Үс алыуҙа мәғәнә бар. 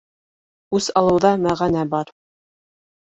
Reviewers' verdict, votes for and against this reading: accepted, 2, 0